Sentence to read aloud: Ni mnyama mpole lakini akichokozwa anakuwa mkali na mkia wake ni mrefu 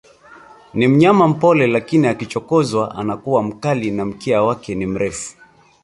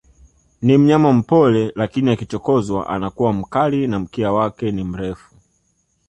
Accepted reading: second